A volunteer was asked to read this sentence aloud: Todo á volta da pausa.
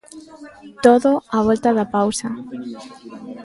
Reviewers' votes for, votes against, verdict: 2, 0, accepted